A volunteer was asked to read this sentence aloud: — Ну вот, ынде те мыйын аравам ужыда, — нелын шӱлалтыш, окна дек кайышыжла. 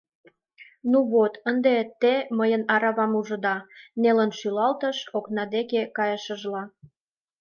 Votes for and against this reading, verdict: 1, 2, rejected